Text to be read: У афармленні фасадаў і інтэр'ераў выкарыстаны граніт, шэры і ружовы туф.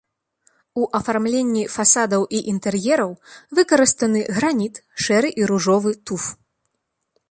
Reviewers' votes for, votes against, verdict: 2, 0, accepted